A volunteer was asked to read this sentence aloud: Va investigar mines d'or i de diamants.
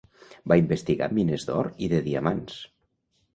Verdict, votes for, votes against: accepted, 2, 0